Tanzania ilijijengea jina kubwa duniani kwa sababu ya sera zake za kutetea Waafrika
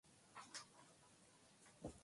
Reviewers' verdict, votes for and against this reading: rejected, 0, 3